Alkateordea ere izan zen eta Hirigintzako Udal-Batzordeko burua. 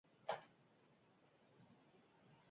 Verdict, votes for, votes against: rejected, 0, 6